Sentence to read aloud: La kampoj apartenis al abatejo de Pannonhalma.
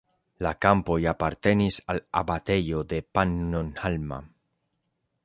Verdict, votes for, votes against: accepted, 2, 0